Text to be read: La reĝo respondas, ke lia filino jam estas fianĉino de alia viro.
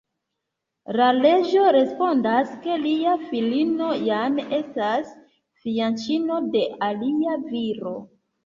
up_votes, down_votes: 3, 0